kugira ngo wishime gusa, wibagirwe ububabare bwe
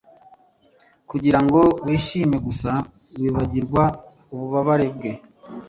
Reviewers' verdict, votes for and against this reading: rejected, 1, 2